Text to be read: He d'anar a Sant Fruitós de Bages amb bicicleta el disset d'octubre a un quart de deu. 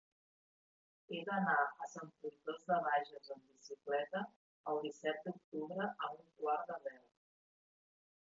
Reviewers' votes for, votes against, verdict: 0, 2, rejected